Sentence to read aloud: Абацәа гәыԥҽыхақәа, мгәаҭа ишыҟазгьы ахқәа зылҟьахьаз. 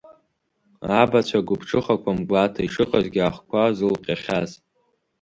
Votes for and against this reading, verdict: 2, 0, accepted